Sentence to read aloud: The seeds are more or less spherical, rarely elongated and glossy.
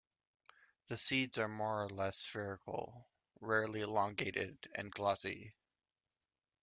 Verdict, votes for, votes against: accepted, 2, 0